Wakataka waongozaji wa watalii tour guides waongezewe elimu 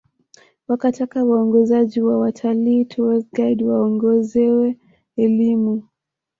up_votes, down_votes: 1, 2